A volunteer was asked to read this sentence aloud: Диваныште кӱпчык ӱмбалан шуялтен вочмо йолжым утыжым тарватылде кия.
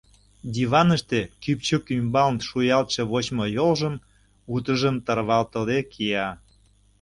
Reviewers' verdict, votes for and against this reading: rejected, 0, 2